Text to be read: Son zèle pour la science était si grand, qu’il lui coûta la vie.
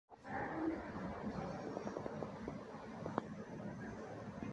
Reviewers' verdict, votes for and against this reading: rejected, 0, 2